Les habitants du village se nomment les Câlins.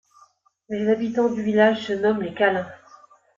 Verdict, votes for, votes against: accepted, 2, 0